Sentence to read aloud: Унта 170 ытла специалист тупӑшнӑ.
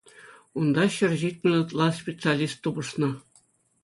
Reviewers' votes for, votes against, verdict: 0, 2, rejected